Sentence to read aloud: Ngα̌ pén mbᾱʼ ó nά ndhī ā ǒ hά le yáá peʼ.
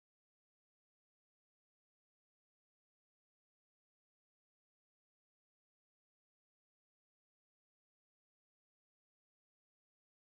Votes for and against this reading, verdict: 3, 4, rejected